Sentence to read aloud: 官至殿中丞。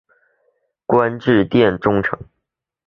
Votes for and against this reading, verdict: 4, 0, accepted